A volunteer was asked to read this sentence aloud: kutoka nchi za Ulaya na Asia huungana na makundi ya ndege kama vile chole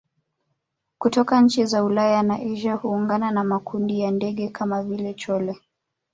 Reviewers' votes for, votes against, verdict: 2, 0, accepted